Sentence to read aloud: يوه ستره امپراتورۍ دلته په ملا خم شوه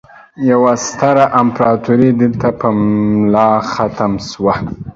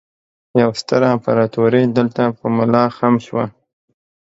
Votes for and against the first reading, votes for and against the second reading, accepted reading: 1, 2, 2, 0, second